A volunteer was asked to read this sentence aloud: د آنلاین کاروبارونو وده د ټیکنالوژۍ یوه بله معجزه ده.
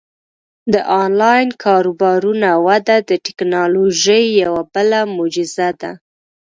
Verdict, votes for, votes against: accepted, 2, 1